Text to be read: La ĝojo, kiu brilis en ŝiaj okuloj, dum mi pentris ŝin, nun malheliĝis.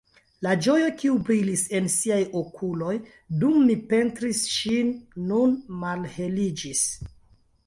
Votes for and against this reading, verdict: 1, 2, rejected